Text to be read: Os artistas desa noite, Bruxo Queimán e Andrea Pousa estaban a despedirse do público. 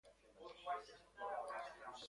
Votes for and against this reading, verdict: 0, 2, rejected